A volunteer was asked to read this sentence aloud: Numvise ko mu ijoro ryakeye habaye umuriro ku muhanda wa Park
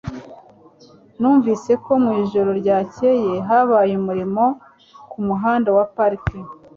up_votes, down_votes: 2, 0